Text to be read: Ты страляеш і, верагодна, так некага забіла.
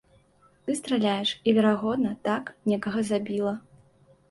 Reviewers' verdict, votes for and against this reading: accepted, 2, 0